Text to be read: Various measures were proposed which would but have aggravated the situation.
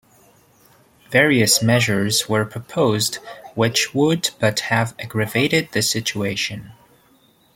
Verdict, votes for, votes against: accepted, 2, 1